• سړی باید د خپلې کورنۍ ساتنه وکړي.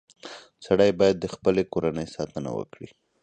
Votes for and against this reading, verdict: 4, 0, accepted